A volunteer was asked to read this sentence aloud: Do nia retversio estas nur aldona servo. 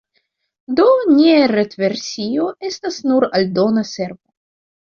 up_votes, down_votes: 2, 0